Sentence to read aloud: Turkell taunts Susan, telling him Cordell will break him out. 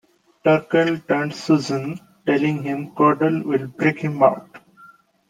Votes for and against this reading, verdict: 2, 1, accepted